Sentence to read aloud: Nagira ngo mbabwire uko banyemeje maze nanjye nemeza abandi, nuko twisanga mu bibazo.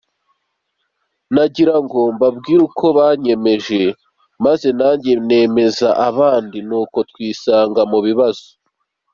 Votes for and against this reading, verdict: 2, 0, accepted